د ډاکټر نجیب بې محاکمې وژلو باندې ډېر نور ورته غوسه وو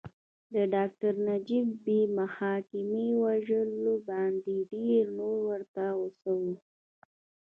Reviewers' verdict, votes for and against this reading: accepted, 3, 0